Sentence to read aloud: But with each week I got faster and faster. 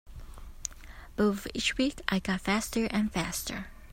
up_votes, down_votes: 0, 2